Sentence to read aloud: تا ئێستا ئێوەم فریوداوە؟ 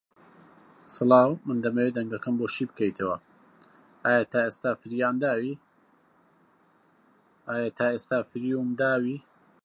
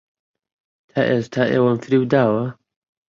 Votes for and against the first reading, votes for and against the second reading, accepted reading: 0, 2, 2, 0, second